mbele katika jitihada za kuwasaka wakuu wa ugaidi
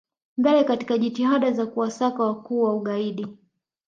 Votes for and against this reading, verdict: 0, 2, rejected